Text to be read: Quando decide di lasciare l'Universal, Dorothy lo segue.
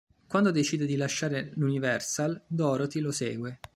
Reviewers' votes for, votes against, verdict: 3, 0, accepted